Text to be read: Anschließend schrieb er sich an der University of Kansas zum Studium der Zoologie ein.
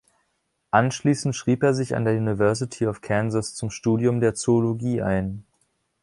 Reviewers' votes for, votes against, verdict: 2, 0, accepted